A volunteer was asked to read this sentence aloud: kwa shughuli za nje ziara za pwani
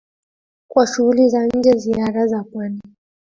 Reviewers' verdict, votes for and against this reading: rejected, 0, 2